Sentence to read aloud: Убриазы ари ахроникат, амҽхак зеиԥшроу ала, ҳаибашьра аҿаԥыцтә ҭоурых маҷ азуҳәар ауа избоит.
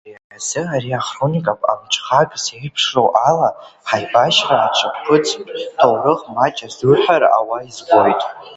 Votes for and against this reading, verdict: 0, 2, rejected